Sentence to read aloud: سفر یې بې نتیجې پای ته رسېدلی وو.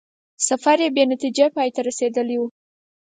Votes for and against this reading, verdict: 4, 2, accepted